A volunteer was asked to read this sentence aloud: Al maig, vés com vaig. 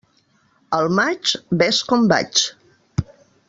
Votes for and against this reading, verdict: 2, 1, accepted